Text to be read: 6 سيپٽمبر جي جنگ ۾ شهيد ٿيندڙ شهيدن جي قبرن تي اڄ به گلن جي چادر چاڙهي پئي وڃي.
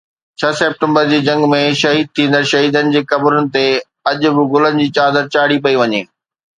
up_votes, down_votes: 0, 2